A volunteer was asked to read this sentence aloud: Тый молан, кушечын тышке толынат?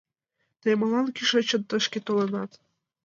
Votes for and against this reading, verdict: 1, 3, rejected